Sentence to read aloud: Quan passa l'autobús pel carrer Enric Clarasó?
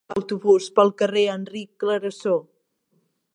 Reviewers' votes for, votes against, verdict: 0, 2, rejected